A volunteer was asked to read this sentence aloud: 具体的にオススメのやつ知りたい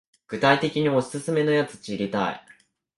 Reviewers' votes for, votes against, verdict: 3, 0, accepted